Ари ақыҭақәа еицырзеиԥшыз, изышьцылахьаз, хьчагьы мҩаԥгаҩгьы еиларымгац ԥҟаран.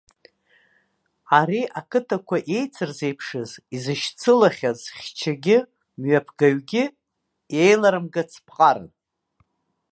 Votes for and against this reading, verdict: 2, 0, accepted